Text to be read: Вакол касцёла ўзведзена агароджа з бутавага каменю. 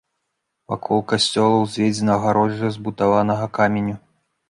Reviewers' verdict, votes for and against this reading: rejected, 0, 2